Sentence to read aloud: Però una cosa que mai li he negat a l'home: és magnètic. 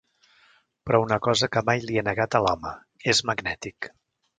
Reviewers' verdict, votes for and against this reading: accepted, 2, 0